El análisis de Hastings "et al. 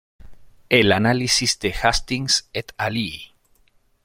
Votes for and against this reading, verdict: 1, 2, rejected